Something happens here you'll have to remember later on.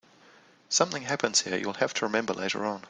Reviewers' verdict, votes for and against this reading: accepted, 2, 0